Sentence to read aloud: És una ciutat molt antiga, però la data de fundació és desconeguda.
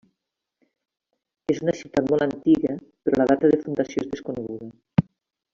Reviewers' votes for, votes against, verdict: 2, 0, accepted